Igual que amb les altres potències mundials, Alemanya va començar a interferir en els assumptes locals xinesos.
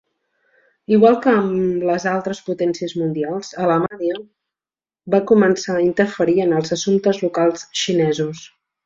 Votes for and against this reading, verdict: 0, 2, rejected